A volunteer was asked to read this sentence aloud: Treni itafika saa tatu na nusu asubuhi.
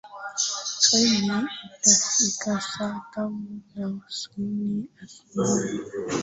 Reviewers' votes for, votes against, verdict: 1, 3, rejected